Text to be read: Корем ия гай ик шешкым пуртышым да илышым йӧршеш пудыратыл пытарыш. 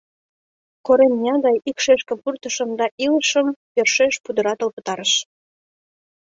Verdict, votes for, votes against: accepted, 2, 0